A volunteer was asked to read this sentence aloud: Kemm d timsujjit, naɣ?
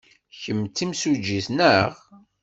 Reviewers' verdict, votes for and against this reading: accepted, 2, 0